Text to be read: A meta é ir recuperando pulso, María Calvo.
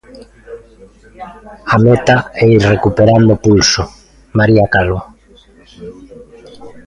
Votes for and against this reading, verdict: 0, 2, rejected